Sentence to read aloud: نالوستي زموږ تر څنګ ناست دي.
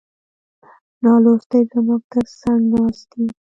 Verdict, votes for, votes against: rejected, 1, 2